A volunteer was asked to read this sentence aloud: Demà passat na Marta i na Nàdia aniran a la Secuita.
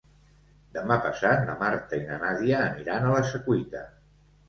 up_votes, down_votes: 2, 0